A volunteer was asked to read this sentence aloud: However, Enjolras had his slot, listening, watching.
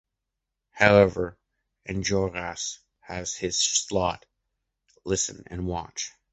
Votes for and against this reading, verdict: 0, 2, rejected